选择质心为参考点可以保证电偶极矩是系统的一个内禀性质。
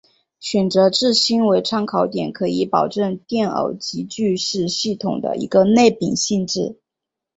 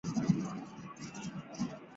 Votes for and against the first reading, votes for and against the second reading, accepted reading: 2, 0, 0, 3, first